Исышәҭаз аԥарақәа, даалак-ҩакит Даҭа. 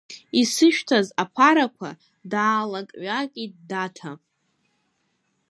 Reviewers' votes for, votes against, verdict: 2, 0, accepted